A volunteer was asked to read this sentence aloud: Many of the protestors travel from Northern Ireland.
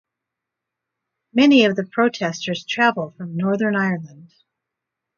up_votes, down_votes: 4, 0